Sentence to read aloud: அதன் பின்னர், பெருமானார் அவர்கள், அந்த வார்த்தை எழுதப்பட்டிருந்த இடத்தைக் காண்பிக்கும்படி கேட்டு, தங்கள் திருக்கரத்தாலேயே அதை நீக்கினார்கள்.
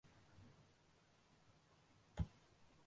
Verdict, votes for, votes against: rejected, 0, 2